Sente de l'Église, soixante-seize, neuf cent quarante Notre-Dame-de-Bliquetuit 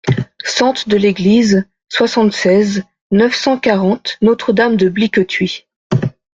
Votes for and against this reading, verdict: 2, 0, accepted